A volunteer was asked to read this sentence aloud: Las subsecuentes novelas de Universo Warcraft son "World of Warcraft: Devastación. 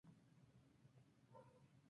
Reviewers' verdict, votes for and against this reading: rejected, 0, 2